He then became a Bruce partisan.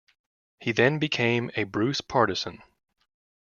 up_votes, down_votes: 2, 0